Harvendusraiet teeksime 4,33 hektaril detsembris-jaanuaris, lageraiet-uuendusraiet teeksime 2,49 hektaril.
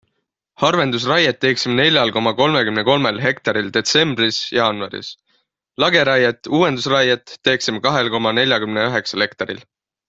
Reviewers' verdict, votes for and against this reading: rejected, 0, 2